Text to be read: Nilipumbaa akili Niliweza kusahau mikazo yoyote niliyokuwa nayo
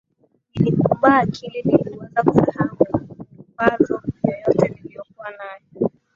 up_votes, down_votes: 3, 2